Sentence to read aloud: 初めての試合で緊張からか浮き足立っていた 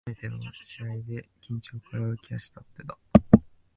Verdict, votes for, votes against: rejected, 1, 2